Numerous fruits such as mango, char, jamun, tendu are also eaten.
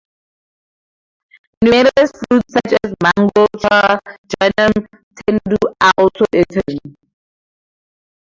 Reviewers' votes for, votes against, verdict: 0, 4, rejected